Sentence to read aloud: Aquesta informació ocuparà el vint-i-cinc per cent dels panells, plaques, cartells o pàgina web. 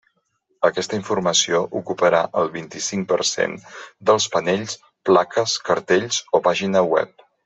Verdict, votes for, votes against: accepted, 3, 0